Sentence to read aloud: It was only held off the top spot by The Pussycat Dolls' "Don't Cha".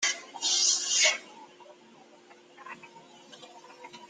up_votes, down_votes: 0, 2